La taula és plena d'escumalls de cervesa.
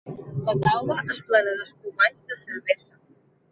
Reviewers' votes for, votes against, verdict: 2, 3, rejected